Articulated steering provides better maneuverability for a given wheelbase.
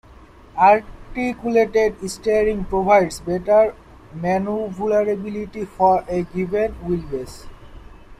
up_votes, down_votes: 1, 2